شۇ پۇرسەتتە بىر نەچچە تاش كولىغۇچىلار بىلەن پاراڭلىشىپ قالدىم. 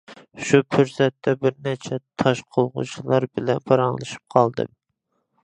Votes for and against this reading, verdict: 0, 2, rejected